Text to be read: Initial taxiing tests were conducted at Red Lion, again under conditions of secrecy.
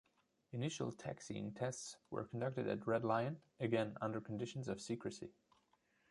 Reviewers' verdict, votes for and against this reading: rejected, 1, 2